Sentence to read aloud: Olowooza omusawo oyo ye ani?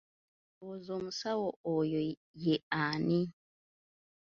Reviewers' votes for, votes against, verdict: 3, 0, accepted